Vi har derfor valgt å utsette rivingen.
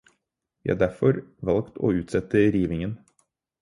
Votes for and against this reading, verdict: 4, 0, accepted